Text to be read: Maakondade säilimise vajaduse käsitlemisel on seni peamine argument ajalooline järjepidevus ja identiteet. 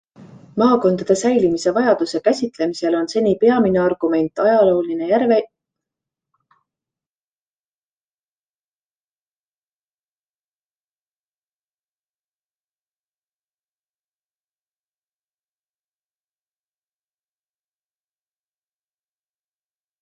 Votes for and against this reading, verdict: 0, 2, rejected